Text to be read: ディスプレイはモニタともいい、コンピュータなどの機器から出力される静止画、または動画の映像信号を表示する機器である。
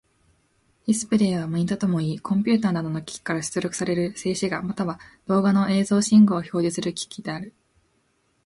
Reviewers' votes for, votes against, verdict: 2, 0, accepted